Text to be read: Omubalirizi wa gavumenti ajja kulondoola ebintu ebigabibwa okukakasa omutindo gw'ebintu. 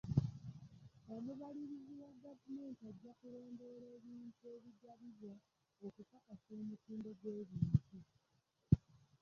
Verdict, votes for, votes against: rejected, 0, 2